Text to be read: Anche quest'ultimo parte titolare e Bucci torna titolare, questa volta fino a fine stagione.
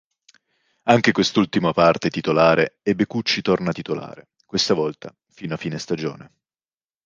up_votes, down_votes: 1, 2